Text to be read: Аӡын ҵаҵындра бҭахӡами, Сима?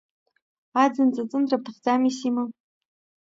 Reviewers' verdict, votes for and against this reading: accepted, 2, 0